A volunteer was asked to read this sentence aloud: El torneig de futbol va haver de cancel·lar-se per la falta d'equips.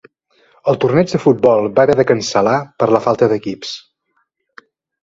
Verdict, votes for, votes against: rejected, 1, 2